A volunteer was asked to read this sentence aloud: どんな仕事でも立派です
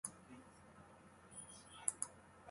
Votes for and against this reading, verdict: 0, 2, rejected